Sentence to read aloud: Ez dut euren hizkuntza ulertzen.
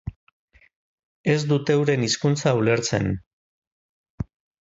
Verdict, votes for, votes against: accepted, 5, 0